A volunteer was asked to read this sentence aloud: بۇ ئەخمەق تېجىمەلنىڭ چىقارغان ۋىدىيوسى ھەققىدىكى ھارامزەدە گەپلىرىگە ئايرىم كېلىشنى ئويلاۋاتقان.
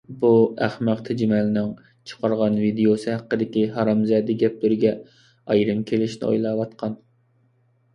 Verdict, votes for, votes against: accepted, 2, 0